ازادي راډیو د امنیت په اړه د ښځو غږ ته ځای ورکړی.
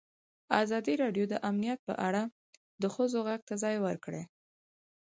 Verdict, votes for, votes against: accepted, 4, 0